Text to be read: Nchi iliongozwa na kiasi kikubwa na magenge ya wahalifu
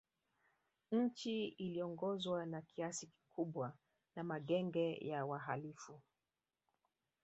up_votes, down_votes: 0, 3